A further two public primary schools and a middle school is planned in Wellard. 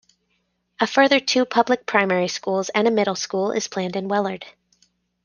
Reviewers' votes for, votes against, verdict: 2, 1, accepted